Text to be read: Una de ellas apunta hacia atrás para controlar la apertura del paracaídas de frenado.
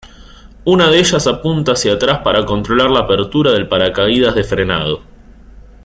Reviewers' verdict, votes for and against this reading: rejected, 0, 2